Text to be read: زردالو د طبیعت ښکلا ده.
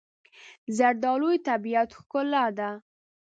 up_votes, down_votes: 0, 2